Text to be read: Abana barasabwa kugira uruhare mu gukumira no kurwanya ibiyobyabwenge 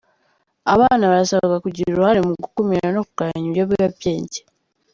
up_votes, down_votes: 2, 3